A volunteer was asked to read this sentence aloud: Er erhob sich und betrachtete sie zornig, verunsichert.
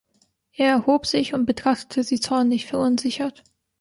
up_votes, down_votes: 1, 2